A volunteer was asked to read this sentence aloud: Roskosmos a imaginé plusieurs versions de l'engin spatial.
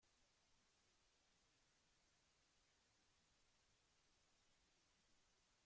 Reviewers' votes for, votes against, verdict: 0, 2, rejected